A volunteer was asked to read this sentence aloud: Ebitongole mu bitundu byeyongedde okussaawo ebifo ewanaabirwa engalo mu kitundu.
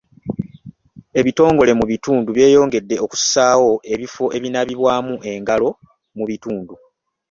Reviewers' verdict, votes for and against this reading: rejected, 0, 3